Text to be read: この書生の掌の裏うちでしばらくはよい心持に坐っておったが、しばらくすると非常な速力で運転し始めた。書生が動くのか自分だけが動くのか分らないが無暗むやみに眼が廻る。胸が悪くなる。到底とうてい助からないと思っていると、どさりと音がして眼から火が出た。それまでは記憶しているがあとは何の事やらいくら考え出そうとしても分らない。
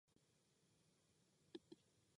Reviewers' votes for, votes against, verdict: 0, 2, rejected